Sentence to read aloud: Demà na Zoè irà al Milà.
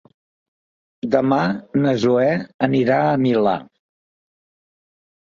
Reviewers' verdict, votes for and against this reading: rejected, 0, 3